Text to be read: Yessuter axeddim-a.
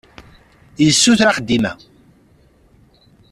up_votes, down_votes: 2, 0